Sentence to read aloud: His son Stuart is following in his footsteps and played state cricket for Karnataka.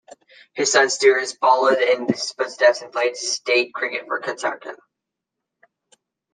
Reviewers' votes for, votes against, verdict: 0, 2, rejected